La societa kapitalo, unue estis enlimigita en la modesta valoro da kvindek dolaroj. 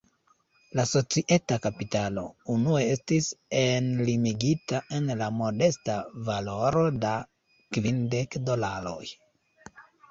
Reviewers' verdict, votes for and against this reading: rejected, 1, 2